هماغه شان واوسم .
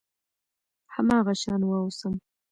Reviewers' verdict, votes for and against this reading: accepted, 2, 1